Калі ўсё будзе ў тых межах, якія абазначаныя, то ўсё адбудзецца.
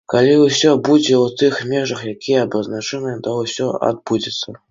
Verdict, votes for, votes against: accepted, 2, 0